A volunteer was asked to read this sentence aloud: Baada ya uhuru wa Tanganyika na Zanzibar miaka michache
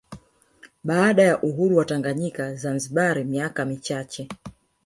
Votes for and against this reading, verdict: 1, 2, rejected